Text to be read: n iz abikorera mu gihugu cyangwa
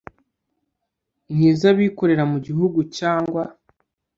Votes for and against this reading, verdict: 2, 0, accepted